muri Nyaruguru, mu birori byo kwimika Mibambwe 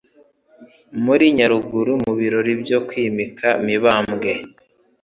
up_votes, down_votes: 2, 1